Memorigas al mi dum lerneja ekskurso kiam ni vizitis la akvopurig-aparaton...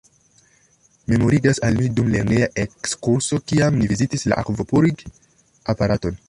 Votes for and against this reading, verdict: 0, 2, rejected